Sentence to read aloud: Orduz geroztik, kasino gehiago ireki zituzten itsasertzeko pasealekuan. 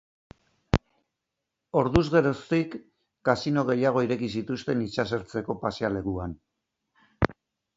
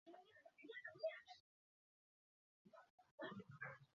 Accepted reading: first